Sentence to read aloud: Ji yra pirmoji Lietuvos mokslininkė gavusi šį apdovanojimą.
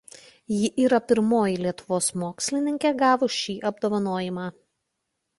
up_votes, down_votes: 0, 2